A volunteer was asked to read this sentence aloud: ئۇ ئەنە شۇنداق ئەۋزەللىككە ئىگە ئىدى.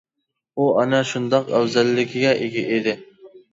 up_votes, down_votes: 0, 2